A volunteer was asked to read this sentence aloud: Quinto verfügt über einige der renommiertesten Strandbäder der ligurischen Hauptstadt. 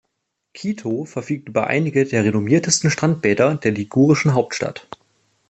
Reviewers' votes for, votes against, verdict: 0, 2, rejected